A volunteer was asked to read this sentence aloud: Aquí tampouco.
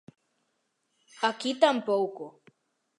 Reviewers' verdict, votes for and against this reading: accepted, 2, 0